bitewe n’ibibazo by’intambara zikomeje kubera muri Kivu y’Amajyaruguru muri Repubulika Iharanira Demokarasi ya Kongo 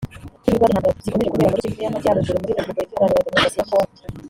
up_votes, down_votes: 1, 3